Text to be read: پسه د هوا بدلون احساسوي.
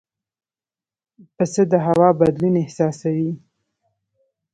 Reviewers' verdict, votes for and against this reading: rejected, 0, 2